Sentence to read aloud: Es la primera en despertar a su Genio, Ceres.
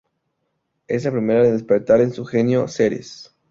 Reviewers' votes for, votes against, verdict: 0, 2, rejected